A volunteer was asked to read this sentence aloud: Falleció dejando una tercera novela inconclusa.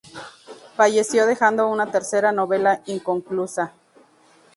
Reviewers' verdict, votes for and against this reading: accepted, 2, 0